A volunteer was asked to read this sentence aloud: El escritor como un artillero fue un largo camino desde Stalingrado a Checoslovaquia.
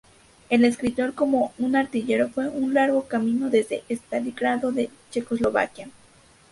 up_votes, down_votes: 2, 0